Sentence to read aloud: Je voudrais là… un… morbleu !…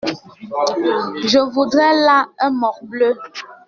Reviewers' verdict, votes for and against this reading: rejected, 1, 2